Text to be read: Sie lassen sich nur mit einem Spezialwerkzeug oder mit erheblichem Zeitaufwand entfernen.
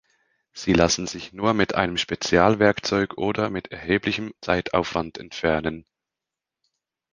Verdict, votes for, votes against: accepted, 2, 0